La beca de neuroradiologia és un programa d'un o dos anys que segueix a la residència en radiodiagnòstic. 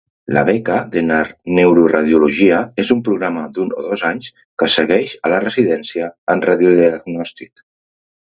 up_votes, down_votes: 2, 3